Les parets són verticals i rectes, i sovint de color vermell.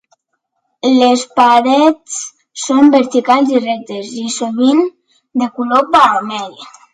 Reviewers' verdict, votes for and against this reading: accepted, 2, 0